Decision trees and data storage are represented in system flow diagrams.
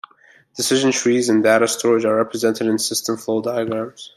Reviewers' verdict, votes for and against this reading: accepted, 2, 0